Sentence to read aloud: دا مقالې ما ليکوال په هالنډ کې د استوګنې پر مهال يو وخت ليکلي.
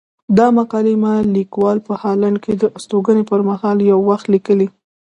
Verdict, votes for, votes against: accepted, 2, 0